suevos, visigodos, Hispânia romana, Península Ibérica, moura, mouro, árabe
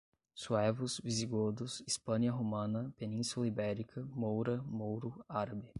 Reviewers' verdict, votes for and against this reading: accepted, 10, 0